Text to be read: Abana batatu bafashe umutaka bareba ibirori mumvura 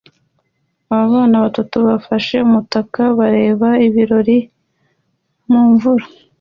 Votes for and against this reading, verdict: 2, 0, accepted